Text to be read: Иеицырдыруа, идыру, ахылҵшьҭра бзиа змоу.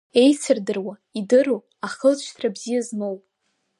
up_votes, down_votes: 5, 0